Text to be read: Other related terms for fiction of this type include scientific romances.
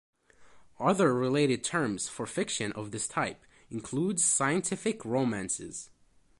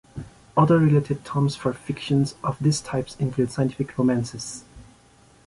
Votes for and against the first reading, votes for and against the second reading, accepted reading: 2, 0, 1, 2, first